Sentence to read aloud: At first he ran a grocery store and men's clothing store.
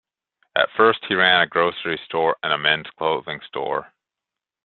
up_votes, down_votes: 0, 2